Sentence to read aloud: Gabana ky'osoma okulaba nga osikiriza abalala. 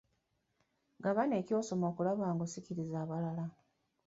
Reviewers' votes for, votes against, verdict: 2, 0, accepted